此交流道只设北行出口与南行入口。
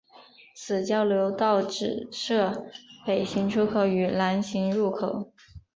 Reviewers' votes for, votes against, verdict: 2, 1, accepted